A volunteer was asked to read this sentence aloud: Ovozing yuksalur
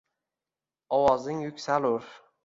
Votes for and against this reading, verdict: 2, 0, accepted